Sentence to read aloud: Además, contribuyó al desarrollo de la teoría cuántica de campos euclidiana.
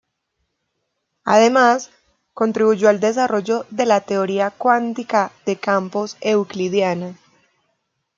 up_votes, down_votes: 2, 0